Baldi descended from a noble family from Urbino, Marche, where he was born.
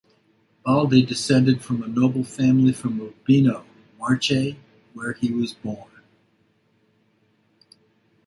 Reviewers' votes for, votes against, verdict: 2, 0, accepted